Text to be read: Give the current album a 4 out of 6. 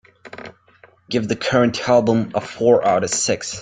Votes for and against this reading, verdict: 0, 2, rejected